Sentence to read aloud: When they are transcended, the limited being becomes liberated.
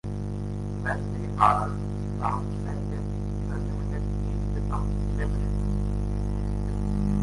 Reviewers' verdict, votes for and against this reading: rejected, 0, 2